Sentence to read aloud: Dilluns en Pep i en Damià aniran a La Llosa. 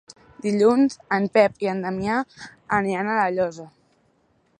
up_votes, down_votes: 5, 0